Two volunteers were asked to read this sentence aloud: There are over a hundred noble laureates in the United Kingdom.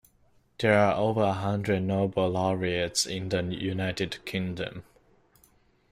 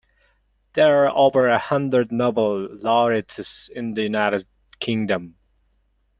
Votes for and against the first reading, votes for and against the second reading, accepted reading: 2, 1, 0, 2, first